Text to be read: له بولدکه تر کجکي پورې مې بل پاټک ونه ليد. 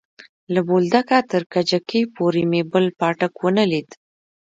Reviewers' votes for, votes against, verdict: 0, 2, rejected